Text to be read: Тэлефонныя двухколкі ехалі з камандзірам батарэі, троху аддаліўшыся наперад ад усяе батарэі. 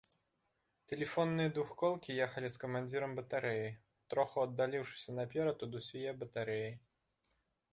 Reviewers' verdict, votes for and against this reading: accepted, 2, 1